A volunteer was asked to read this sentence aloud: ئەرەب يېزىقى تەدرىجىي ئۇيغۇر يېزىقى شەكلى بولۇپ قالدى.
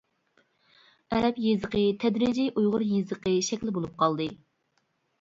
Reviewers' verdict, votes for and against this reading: accepted, 2, 0